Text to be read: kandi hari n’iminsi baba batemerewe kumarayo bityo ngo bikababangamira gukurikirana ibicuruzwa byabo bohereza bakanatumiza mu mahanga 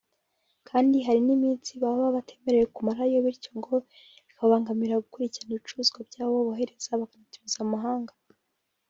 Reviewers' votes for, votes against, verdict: 1, 2, rejected